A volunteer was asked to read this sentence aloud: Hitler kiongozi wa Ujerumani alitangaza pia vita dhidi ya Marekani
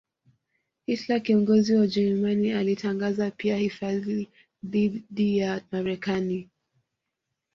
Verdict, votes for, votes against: rejected, 1, 2